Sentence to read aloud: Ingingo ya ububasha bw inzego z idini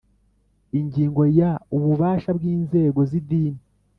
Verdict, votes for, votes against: accepted, 3, 0